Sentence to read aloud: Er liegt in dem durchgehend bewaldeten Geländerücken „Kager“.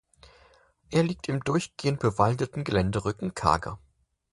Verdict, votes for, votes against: rejected, 0, 4